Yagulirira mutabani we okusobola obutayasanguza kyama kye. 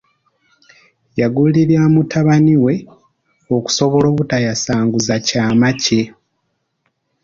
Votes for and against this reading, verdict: 2, 0, accepted